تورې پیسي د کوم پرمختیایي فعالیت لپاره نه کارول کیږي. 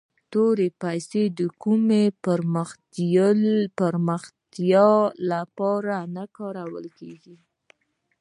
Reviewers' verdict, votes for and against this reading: rejected, 0, 2